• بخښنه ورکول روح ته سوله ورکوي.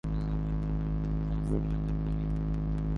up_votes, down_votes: 1, 2